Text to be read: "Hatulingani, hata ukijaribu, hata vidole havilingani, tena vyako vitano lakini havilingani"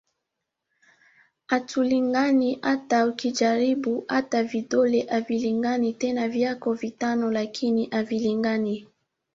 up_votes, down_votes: 3, 0